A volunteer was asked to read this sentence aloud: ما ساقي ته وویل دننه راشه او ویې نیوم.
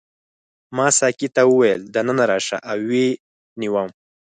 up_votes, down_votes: 4, 0